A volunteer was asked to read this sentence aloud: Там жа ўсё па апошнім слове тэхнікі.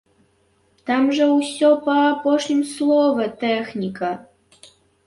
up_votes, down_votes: 0, 2